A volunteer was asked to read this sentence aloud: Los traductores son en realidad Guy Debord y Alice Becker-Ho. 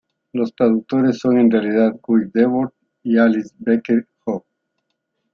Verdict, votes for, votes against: rejected, 0, 2